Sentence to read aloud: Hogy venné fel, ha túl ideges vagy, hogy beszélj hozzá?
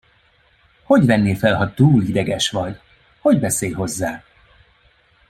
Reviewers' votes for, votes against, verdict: 1, 2, rejected